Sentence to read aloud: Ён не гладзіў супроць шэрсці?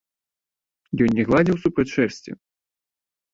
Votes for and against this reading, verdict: 1, 2, rejected